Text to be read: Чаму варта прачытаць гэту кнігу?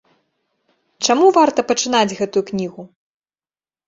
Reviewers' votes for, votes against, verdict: 1, 2, rejected